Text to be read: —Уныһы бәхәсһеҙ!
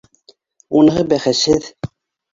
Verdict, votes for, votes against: accepted, 2, 0